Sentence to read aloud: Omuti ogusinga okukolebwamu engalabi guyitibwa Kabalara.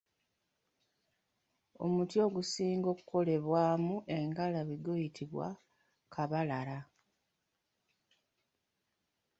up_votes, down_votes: 2, 0